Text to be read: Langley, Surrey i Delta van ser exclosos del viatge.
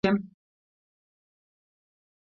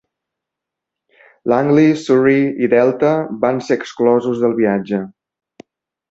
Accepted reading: second